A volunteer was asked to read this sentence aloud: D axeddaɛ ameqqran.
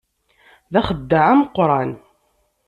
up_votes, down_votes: 2, 0